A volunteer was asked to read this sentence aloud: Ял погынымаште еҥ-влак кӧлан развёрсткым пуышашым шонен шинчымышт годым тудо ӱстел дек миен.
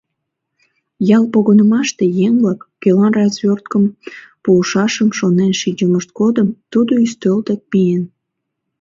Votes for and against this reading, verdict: 1, 2, rejected